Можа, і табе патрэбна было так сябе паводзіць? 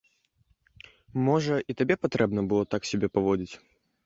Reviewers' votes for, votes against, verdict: 2, 0, accepted